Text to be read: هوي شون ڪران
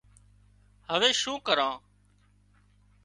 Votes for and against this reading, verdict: 2, 0, accepted